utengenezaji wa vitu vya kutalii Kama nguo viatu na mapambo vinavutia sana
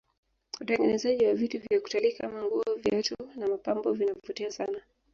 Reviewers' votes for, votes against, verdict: 1, 2, rejected